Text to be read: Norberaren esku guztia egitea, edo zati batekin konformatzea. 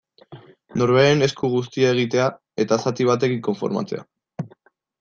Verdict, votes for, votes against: rejected, 0, 2